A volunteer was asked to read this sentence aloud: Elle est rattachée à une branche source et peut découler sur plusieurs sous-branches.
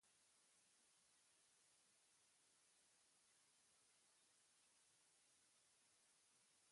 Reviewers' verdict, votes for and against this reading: rejected, 0, 2